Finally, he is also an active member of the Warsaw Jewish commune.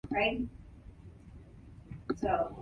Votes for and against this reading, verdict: 0, 2, rejected